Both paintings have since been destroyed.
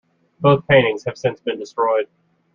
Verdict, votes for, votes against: accepted, 2, 0